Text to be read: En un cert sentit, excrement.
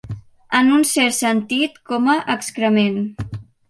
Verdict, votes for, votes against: rejected, 0, 2